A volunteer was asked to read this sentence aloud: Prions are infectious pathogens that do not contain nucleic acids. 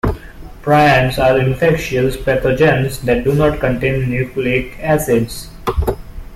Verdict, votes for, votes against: accepted, 2, 0